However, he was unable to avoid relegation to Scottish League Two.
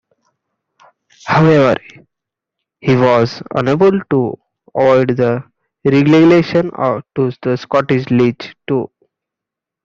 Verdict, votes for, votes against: rejected, 1, 2